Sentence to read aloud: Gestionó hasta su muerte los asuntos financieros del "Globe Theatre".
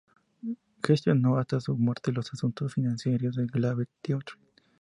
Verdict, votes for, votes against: accepted, 2, 0